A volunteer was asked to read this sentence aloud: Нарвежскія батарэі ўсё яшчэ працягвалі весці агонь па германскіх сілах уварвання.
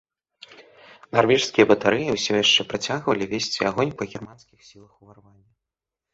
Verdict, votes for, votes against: accepted, 2, 0